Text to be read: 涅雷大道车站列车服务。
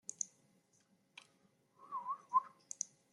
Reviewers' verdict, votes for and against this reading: rejected, 0, 2